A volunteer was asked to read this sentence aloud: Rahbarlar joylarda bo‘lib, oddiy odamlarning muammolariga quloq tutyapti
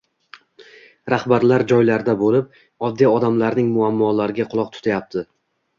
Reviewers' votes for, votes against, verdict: 2, 0, accepted